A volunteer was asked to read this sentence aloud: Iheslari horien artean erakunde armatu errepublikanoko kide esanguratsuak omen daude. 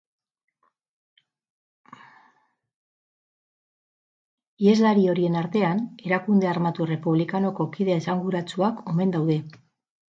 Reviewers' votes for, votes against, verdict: 2, 2, rejected